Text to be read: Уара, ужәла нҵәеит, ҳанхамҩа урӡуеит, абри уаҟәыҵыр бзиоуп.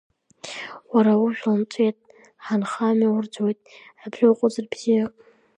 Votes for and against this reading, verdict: 3, 0, accepted